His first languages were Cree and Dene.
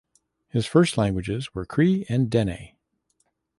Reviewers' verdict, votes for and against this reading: accepted, 2, 0